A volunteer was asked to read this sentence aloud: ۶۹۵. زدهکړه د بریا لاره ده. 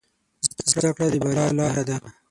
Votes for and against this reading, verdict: 0, 2, rejected